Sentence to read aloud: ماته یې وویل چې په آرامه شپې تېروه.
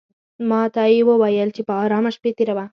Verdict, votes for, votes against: accepted, 2, 0